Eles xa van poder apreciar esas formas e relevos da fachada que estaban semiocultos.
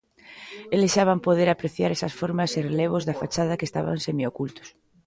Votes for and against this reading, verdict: 2, 0, accepted